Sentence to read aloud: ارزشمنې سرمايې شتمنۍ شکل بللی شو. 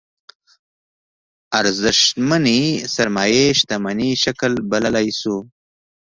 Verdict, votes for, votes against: accepted, 2, 0